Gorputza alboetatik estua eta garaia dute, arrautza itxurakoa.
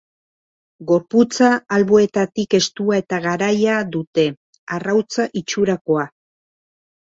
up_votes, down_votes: 2, 0